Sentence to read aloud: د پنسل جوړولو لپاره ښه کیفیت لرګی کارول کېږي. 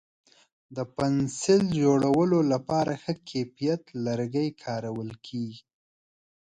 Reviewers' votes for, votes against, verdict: 1, 2, rejected